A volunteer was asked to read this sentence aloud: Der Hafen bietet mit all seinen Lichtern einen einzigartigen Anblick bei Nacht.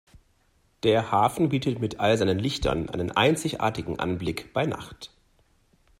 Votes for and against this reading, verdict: 2, 0, accepted